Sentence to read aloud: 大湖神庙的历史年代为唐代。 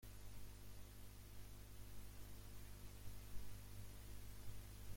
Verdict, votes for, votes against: rejected, 0, 2